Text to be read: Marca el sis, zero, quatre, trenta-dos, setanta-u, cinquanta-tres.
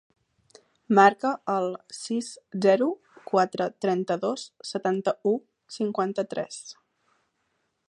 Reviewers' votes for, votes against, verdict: 4, 0, accepted